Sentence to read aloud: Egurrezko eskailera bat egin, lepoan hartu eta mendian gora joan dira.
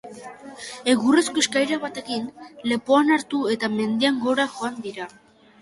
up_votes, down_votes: 3, 1